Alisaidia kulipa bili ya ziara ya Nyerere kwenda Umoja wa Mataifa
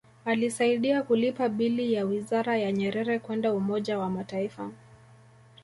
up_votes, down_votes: 0, 2